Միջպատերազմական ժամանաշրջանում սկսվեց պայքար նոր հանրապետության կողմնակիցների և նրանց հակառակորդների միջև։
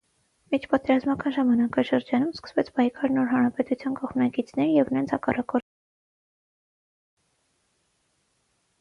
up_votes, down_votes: 0, 6